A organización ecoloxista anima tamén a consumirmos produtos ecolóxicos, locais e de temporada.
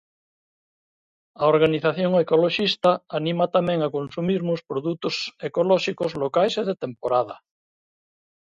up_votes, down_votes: 2, 0